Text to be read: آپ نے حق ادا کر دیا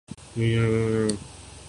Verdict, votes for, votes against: rejected, 0, 2